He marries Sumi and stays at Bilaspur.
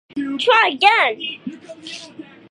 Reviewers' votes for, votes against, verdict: 0, 2, rejected